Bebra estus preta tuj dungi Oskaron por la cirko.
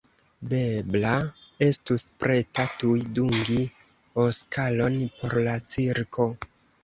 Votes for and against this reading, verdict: 0, 2, rejected